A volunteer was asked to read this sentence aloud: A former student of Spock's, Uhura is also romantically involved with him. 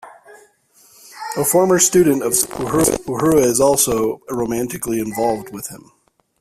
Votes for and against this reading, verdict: 0, 2, rejected